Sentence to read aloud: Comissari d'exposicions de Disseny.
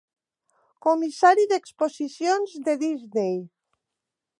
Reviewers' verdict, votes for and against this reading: rejected, 1, 2